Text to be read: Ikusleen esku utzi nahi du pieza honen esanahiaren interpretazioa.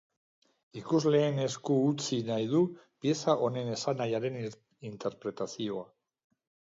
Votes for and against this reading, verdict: 1, 2, rejected